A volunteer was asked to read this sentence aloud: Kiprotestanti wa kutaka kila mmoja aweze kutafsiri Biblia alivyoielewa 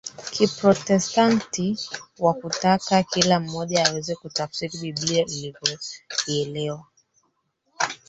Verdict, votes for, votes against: rejected, 0, 3